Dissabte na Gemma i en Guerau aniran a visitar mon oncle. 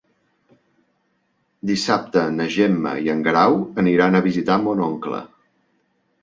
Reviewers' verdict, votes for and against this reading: accepted, 3, 0